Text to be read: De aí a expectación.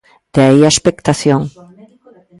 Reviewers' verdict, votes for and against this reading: rejected, 0, 2